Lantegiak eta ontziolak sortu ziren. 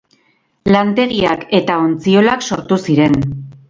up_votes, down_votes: 2, 2